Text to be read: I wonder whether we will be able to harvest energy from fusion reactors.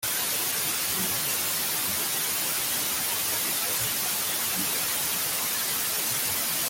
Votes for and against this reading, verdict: 0, 2, rejected